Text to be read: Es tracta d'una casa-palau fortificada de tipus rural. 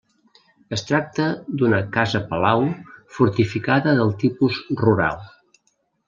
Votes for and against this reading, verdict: 0, 2, rejected